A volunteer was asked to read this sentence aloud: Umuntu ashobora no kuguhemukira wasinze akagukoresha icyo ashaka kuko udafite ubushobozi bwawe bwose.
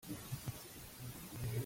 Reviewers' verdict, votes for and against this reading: rejected, 0, 2